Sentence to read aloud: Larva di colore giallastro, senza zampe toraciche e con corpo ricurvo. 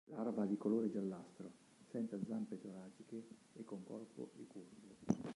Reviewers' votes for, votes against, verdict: 2, 3, rejected